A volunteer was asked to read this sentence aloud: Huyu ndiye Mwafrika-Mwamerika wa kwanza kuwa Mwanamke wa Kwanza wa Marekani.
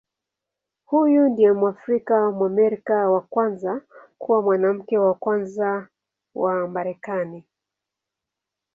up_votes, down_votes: 2, 0